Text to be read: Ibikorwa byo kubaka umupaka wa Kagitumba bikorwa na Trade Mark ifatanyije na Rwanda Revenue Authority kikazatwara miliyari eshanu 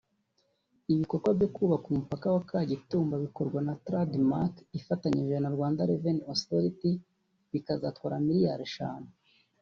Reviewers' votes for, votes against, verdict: 1, 2, rejected